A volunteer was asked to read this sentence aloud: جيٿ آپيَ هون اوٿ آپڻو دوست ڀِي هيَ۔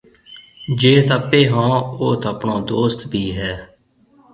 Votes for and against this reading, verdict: 2, 0, accepted